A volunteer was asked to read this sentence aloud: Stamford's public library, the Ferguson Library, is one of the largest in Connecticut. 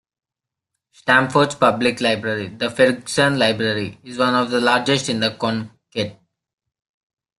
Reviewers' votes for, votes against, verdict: 0, 2, rejected